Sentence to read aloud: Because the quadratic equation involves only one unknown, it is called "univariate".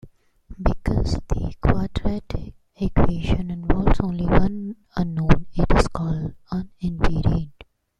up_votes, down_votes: 0, 2